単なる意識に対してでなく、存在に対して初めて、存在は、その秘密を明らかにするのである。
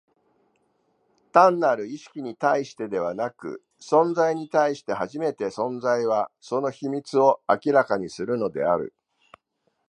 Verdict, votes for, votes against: rejected, 1, 2